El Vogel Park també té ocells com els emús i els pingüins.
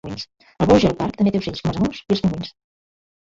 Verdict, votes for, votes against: rejected, 0, 2